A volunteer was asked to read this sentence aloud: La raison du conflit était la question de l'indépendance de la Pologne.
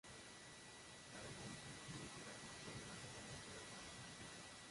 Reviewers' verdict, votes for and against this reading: rejected, 1, 2